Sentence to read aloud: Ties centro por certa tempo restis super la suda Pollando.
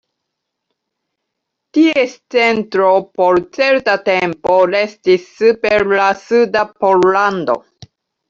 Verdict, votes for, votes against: accepted, 2, 0